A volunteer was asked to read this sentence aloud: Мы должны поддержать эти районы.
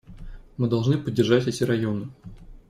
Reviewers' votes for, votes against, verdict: 2, 0, accepted